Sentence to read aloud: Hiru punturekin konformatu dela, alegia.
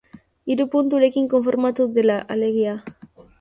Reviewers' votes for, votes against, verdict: 2, 0, accepted